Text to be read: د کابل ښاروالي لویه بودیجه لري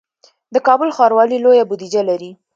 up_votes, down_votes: 2, 0